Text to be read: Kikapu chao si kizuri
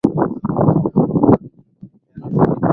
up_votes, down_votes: 0, 10